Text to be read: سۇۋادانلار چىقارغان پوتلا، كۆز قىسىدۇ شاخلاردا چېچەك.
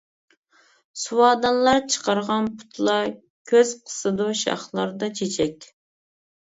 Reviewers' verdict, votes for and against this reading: rejected, 0, 2